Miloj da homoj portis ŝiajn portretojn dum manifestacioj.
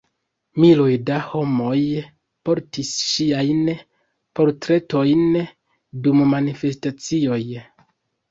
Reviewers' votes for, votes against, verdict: 2, 0, accepted